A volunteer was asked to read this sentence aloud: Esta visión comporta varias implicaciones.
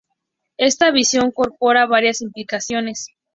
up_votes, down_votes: 0, 2